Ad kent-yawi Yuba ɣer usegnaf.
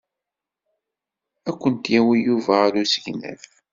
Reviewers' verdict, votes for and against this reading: accepted, 2, 0